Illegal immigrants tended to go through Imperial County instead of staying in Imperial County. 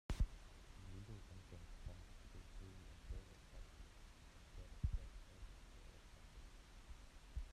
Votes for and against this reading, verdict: 0, 2, rejected